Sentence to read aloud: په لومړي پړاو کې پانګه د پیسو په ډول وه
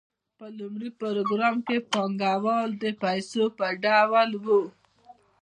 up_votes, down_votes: 2, 0